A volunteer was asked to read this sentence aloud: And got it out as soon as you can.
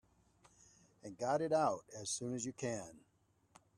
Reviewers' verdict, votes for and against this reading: accepted, 3, 0